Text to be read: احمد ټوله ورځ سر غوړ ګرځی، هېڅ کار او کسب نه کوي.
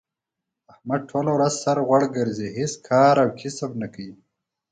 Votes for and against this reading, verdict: 4, 0, accepted